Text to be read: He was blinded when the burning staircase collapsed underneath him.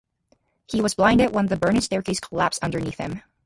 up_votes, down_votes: 2, 2